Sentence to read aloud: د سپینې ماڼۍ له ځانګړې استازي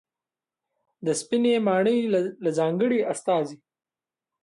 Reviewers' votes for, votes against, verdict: 0, 2, rejected